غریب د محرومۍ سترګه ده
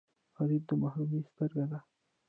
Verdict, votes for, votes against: rejected, 1, 2